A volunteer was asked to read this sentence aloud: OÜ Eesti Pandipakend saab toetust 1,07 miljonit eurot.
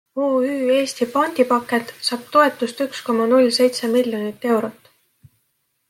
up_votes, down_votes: 0, 2